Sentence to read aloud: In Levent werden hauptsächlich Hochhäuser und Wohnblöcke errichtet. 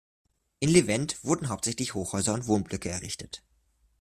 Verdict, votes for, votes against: accepted, 2, 1